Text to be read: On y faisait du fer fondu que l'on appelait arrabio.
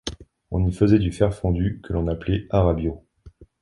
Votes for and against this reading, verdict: 2, 0, accepted